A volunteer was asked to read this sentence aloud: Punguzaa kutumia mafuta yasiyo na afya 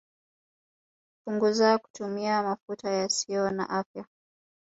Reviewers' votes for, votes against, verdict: 1, 2, rejected